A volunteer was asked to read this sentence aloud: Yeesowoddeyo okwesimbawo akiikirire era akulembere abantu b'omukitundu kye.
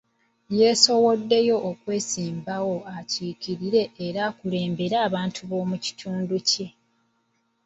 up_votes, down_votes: 2, 0